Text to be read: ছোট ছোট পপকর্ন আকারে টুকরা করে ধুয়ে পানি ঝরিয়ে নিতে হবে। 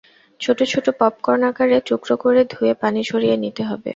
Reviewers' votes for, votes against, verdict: 0, 2, rejected